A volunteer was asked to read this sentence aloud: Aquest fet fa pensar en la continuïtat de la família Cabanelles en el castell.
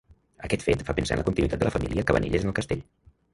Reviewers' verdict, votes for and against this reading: rejected, 1, 2